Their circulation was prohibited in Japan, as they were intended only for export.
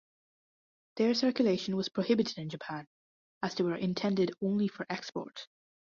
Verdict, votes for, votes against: accepted, 2, 0